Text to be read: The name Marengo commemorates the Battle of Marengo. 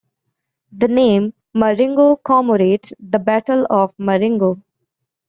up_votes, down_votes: 1, 2